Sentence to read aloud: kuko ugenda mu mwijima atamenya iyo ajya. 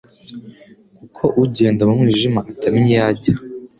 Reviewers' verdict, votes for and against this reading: accepted, 2, 0